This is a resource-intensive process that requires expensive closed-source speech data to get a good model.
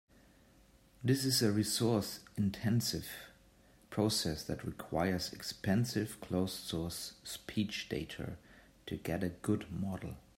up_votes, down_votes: 2, 0